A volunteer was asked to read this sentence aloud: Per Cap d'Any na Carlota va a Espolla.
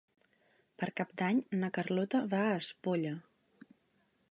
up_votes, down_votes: 3, 0